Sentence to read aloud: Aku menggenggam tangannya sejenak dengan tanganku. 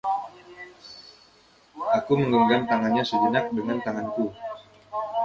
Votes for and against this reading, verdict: 1, 2, rejected